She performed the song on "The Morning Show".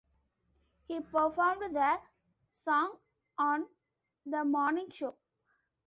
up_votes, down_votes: 0, 2